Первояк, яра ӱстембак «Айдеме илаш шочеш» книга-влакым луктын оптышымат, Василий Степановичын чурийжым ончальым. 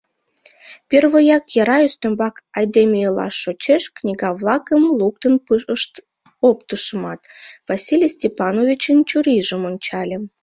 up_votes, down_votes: 1, 2